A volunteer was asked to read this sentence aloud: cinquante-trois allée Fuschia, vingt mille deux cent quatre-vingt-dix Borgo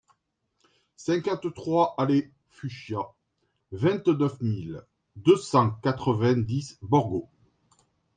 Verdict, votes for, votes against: rejected, 1, 2